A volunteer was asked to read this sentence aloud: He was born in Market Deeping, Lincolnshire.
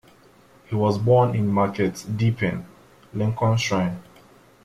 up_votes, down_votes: 2, 0